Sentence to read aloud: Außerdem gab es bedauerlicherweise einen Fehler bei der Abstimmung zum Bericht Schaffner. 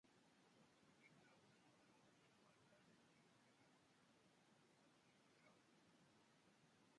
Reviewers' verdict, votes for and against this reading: rejected, 0, 2